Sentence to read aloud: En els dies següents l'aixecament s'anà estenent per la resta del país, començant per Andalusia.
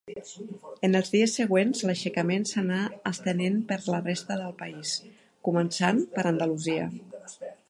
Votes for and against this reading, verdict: 2, 0, accepted